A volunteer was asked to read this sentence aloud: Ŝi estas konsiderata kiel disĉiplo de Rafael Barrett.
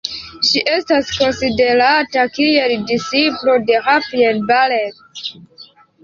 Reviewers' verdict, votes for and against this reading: accepted, 2, 1